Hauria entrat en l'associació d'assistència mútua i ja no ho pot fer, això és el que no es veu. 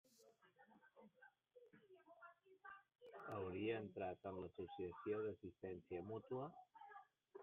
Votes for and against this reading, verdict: 0, 2, rejected